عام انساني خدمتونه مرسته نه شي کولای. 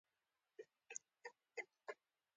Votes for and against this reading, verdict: 0, 2, rejected